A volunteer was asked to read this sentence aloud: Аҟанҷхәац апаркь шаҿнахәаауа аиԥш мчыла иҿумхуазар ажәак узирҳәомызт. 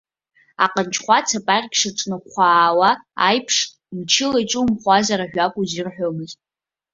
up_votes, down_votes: 2, 1